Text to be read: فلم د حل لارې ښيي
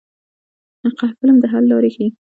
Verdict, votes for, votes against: accepted, 2, 1